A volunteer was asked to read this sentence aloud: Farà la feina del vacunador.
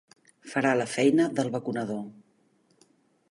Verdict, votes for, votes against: accepted, 3, 0